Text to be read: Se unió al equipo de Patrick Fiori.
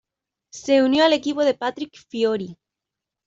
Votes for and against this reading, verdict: 2, 0, accepted